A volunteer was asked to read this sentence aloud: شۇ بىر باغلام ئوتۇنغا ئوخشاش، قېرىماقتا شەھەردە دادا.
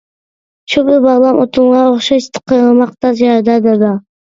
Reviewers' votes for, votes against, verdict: 0, 2, rejected